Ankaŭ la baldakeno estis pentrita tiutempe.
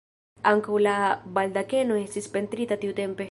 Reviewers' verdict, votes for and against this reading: rejected, 1, 2